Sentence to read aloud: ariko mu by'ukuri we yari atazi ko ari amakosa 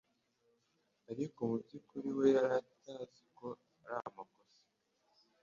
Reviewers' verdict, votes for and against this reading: rejected, 1, 2